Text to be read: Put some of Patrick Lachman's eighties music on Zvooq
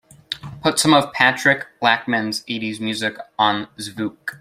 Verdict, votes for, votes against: accepted, 2, 0